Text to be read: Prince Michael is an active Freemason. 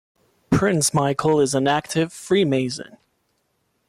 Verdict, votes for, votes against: accepted, 2, 1